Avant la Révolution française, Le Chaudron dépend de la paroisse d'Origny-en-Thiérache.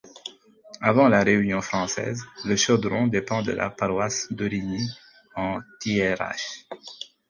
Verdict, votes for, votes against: rejected, 2, 4